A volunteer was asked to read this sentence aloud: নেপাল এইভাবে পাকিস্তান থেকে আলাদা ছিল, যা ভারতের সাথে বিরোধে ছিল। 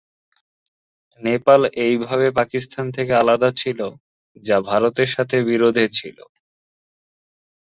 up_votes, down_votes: 4, 0